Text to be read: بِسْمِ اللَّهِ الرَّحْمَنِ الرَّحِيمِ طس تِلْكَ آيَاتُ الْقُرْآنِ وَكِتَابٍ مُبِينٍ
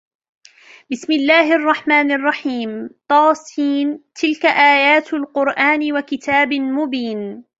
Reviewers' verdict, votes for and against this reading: rejected, 0, 2